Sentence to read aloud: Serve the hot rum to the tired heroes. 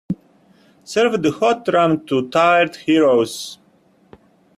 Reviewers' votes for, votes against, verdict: 1, 2, rejected